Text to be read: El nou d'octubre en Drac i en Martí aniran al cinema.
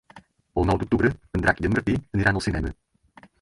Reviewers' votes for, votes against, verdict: 2, 4, rejected